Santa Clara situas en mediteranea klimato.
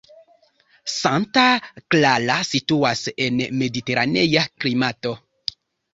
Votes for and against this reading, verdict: 2, 1, accepted